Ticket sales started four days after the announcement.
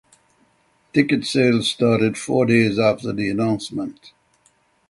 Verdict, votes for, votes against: accepted, 6, 0